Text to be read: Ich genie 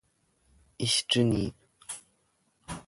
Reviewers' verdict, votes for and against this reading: accepted, 2, 1